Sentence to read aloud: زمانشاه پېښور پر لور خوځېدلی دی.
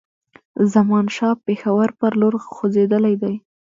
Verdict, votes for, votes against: accepted, 2, 1